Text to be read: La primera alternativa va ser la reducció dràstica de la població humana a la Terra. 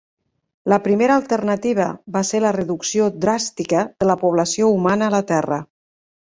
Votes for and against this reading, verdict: 3, 0, accepted